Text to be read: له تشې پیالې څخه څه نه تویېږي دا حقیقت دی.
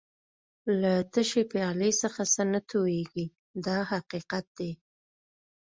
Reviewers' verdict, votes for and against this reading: accepted, 2, 0